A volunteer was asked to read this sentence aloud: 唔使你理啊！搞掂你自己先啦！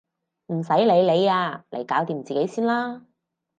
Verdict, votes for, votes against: rejected, 0, 4